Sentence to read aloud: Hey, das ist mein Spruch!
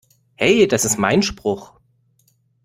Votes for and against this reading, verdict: 2, 0, accepted